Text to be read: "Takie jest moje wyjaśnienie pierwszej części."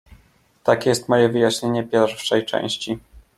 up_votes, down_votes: 2, 0